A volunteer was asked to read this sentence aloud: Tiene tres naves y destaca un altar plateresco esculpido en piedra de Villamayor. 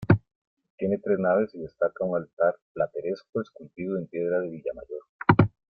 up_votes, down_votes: 2, 0